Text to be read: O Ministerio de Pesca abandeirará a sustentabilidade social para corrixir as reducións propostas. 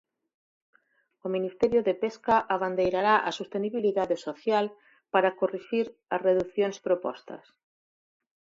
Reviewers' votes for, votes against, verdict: 0, 4, rejected